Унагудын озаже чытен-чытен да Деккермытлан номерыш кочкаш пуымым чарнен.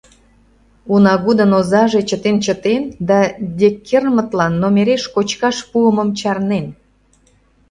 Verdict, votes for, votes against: rejected, 0, 2